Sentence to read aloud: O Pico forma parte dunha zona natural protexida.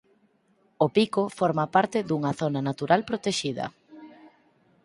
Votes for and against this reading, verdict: 4, 0, accepted